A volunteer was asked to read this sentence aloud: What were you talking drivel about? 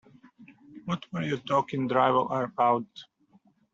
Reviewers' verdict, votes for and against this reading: rejected, 0, 2